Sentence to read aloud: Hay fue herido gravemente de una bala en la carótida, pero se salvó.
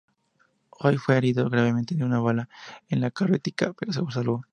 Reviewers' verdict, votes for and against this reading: accepted, 2, 0